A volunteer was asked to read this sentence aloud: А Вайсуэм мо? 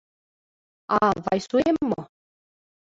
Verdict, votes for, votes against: accepted, 2, 0